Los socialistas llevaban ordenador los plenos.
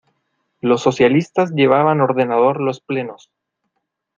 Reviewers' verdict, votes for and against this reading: accepted, 2, 0